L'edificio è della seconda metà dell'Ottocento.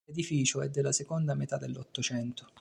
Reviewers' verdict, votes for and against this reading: accepted, 2, 1